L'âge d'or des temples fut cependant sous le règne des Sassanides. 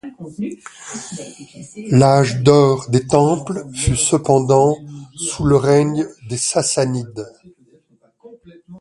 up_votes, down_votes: 2, 0